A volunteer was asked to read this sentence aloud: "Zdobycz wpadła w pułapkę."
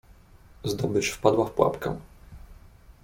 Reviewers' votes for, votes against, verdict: 2, 0, accepted